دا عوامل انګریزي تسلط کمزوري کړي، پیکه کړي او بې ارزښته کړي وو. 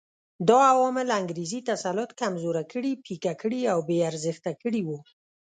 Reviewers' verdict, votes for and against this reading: accepted, 2, 0